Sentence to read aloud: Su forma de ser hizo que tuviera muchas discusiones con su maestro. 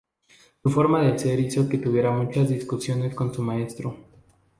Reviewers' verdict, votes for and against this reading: accepted, 2, 0